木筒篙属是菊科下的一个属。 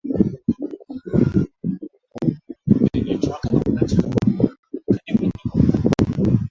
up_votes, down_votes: 0, 2